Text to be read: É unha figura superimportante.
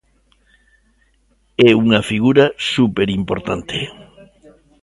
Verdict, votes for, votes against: accepted, 2, 0